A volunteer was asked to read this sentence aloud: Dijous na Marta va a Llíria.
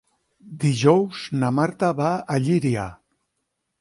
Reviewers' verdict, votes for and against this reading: accepted, 9, 0